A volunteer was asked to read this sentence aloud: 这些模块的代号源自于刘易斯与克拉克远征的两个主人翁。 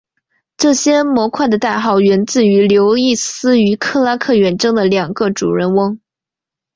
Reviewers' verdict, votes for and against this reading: accepted, 4, 1